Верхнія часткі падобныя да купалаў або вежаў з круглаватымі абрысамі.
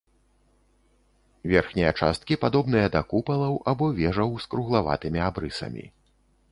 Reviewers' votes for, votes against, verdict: 3, 0, accepted